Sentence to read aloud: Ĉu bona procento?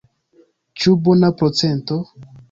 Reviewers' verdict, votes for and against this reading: accepted, 2, 1